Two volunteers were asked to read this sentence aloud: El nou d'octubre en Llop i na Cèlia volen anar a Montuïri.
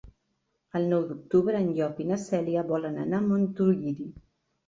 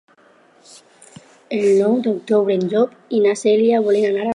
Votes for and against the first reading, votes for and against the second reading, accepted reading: 2, 0, 0, 2, first